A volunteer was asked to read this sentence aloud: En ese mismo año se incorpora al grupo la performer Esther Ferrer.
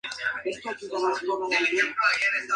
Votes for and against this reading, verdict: 0, 2, rejected